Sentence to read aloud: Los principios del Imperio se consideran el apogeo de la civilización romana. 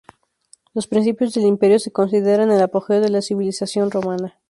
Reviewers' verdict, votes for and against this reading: accepted, 2, 0